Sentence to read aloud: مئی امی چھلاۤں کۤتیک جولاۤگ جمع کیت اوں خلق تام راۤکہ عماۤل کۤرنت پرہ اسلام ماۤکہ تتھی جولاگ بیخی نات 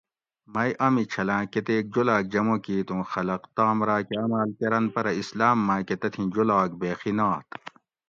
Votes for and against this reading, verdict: 2, 0, accepted